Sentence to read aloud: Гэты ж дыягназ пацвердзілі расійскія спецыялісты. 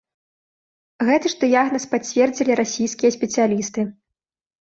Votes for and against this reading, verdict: 2, 0, accepted